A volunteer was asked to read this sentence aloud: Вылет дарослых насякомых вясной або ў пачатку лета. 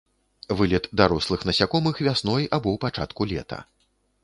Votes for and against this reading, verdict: 2, 0, accepted